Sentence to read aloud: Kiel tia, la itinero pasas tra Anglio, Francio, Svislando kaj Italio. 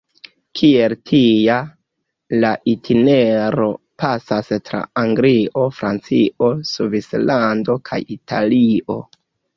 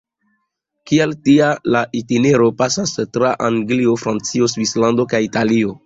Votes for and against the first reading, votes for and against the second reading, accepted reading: 0, 2, 2, 0, second